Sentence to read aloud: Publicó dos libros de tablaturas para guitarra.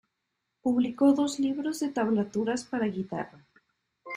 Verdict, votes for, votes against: accepted, 2, 0